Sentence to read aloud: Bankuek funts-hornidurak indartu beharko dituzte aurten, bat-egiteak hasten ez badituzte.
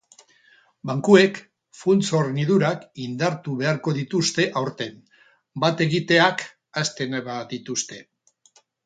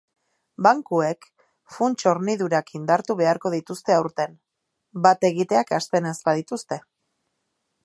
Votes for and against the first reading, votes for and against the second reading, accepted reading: 2, 6, 2, 0, second